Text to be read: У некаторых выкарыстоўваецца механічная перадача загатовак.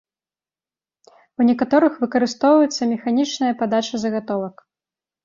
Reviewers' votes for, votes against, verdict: 0, 2, rejected